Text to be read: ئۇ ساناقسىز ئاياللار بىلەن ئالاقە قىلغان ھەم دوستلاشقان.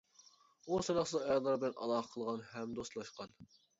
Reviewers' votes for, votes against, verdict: 0, 2, rejected